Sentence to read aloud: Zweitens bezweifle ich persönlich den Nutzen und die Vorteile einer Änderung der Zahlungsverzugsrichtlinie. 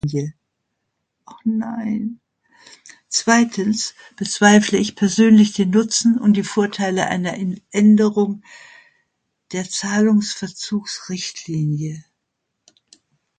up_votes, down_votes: 0, 3